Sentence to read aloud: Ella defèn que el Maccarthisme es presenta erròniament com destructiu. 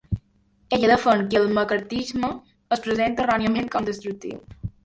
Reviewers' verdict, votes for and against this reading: accepted, 2, 0